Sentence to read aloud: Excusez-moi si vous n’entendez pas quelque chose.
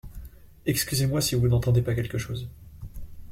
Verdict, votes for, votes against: accepted, 2, 0